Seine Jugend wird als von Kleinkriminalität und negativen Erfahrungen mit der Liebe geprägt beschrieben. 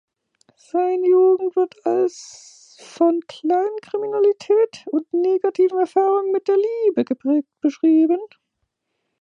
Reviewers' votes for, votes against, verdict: 1, 2, rejected